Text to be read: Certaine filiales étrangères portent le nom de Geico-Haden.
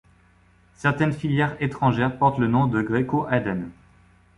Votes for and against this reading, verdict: 1, 2, rejected